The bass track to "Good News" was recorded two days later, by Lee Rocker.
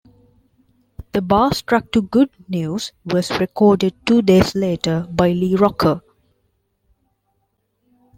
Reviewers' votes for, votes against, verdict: 2, 3, rejected